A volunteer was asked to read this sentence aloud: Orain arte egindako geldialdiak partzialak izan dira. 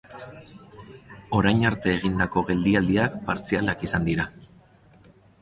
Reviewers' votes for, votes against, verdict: 3, 0, accepted